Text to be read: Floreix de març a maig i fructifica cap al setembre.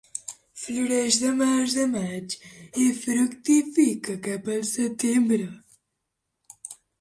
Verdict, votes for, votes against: rejected, 0, 2